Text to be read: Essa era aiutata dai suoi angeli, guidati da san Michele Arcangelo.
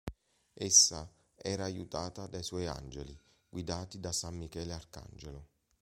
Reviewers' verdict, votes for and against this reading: accepted, 2, 0